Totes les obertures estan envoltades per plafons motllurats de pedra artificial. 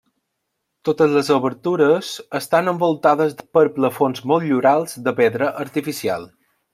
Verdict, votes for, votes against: rejected, 0, 2